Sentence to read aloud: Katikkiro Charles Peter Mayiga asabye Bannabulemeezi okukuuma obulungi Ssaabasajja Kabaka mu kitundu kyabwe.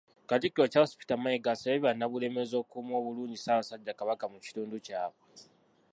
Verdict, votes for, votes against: rejected, 0, 2